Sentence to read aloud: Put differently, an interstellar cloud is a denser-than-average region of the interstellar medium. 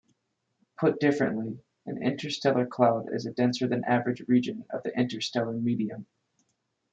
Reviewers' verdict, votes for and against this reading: accepted, 2, 0